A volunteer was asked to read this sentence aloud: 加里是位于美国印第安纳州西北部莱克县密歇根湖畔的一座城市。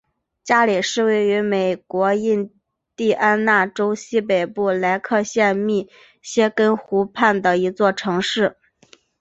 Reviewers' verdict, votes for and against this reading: accepted, 2, 1